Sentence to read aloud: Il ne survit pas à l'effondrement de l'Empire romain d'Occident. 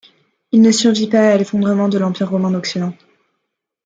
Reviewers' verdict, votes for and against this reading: accepted, 2, 1